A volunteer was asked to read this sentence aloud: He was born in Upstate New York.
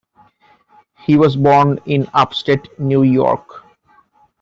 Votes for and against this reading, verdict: 2, 0, accepted